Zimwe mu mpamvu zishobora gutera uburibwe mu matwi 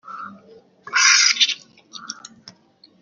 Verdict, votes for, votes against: rejected, 0, 2